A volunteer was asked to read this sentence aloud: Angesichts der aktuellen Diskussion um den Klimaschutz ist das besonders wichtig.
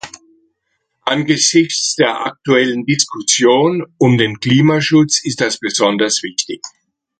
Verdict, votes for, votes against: accepted, 2, 1